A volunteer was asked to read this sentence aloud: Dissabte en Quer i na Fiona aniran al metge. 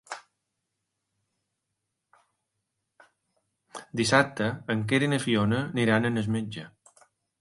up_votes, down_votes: 1, 2